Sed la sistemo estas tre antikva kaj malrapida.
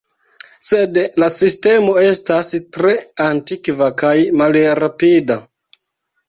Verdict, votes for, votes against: accepted, 2, 0